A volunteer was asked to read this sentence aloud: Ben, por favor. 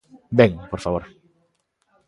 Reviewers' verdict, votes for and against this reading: accepted, 2, 0